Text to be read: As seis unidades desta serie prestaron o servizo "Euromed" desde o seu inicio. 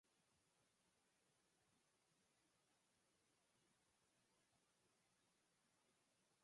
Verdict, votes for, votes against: rejected, 0, 2